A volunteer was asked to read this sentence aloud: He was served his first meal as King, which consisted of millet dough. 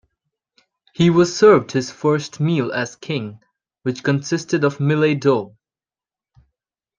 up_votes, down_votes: 1, 2